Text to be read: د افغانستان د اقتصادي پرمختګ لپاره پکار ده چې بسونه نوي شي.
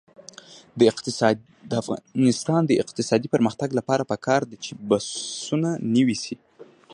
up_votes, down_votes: 1, 2